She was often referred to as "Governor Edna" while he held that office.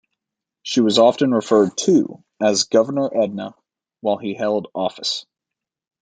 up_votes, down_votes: 1, 2